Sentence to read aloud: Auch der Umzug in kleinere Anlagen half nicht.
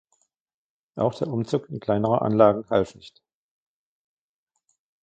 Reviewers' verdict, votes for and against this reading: rejected, 0, 2